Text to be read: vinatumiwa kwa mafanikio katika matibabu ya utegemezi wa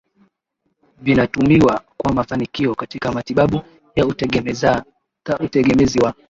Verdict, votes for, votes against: rejected, 0, 2